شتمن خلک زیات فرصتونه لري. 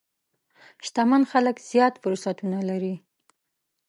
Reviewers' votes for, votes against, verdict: 2, 0, accepted